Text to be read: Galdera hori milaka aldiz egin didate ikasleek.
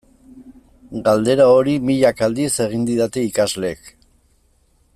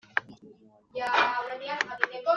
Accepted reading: first